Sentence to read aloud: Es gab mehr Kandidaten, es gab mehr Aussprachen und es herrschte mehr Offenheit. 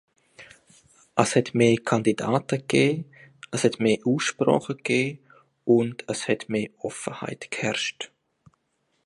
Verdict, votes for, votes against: rejected, 1, 2